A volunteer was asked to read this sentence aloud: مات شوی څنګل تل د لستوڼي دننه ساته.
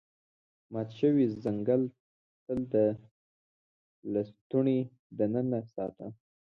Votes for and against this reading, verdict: 0, 2, rejected